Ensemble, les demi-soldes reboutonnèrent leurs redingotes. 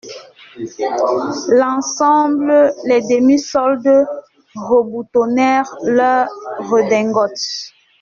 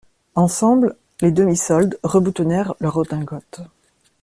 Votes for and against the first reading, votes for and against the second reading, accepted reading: 0, 2, 2, 0, second